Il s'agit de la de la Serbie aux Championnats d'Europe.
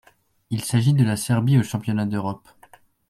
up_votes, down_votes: 1, 2